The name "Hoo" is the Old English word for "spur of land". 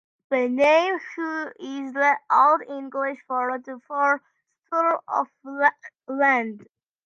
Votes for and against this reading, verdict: 0, 2, rejected